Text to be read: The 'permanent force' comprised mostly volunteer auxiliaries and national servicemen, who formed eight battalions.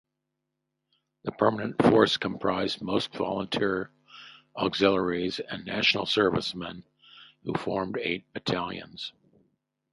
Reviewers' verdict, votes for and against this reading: rejected, 0, 2